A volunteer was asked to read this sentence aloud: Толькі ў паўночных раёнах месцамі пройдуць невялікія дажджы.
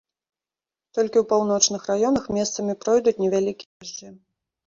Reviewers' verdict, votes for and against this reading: rejected, 0, 2